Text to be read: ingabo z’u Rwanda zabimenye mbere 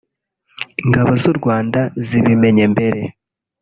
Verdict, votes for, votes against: rejected, 1, 2